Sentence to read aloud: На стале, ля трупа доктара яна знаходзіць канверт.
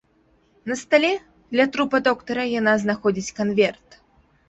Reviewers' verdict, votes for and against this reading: accepted, 2, 1